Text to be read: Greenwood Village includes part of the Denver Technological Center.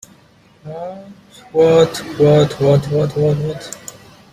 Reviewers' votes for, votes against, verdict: 0, 2, rejected